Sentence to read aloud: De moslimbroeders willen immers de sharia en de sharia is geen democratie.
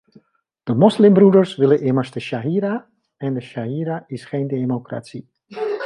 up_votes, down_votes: 2, 1